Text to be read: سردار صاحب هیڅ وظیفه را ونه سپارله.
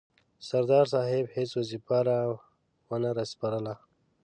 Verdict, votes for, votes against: accepted, 2, 0